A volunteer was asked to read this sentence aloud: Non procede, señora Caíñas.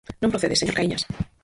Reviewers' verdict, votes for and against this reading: rejected, 0, 4